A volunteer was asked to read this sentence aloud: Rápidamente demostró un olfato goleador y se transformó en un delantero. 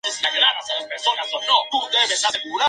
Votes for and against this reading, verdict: 0, 2, rejected